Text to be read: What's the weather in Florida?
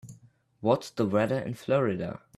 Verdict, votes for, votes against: accepted, 2, 1